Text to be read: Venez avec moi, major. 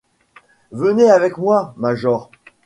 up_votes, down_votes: 2, 0